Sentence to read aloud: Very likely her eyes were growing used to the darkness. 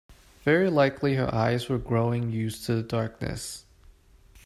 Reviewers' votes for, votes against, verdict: 2, 0, accepted